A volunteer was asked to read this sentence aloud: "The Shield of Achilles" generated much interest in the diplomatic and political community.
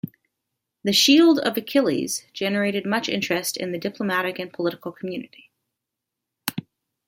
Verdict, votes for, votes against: accepted, 2, 0